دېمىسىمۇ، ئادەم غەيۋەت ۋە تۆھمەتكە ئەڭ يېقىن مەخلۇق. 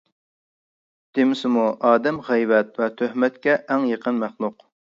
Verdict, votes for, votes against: accepted, 2, 0